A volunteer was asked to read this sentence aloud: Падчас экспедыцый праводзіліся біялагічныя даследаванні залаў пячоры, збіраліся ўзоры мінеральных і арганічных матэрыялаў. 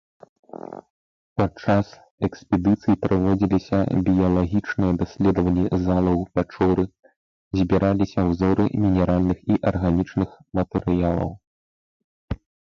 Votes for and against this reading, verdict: 0, 3, rejected